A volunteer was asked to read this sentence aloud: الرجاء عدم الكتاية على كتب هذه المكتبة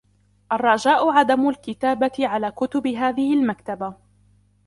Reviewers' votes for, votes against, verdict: 1, 2, rejected